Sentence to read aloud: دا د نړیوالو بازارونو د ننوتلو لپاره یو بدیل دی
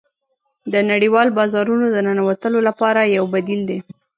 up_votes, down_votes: 1, 2